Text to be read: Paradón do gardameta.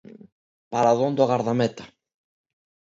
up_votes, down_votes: 2, 0